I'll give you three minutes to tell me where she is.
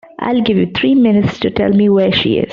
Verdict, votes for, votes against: accepted, 2, 0